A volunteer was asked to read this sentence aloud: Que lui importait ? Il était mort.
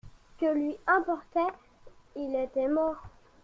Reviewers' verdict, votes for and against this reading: accepted, 2, 0